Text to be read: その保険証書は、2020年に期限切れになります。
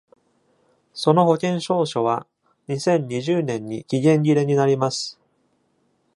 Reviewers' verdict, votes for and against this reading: rejected, 0, 2